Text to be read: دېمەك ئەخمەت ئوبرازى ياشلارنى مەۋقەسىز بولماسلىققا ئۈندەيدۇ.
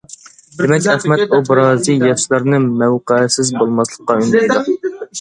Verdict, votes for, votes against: rejected, 1, 2